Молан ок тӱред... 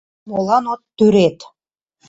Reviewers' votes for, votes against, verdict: 0, 2, rejected